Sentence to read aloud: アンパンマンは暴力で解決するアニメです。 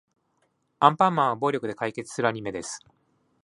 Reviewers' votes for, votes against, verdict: 2, 0, accepted